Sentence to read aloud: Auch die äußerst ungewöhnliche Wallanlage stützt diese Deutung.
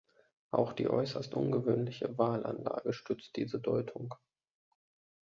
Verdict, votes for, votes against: rejected, 1, 2